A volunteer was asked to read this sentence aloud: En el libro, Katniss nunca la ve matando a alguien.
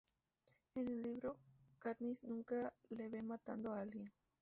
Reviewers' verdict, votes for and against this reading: rejected, 0, 4